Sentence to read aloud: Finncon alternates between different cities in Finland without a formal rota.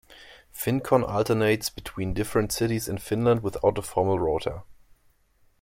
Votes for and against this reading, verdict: 1, 2, rejected